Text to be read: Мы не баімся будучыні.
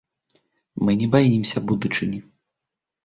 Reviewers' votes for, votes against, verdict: 3, 0, accepted